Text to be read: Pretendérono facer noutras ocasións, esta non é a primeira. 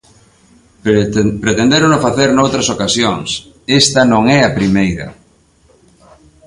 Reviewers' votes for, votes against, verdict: 0, 2, rejected